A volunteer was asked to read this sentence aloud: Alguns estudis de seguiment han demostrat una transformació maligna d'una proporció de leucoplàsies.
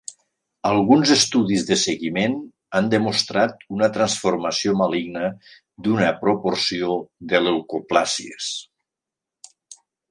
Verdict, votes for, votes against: accepted, 2, 0